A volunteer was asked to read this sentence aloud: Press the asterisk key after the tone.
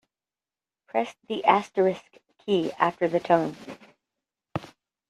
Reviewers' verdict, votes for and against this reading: rejected, 0, 2